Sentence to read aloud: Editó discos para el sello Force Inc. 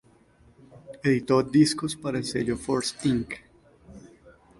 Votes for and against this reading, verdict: 0, 2, rejected